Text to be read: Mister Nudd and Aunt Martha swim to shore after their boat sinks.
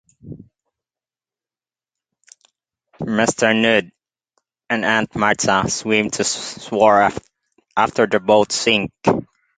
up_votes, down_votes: 0, 2